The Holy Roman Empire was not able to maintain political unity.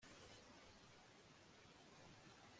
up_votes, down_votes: 1, 2